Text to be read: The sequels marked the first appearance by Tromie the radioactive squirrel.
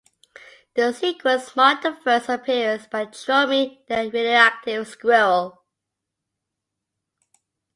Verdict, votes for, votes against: accepted, 2, 0